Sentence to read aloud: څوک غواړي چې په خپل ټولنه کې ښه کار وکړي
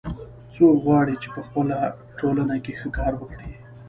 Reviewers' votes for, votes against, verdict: 2, 0, accepted